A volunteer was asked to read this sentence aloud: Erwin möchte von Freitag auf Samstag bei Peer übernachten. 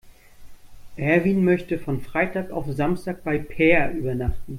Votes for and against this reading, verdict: 2, 0, accepted